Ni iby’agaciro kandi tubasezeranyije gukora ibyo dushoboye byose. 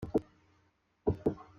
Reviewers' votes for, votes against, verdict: 0, 2, rejected